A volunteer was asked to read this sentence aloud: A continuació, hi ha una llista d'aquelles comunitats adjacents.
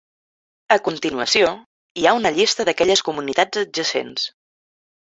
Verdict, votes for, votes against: accepted, 3, 1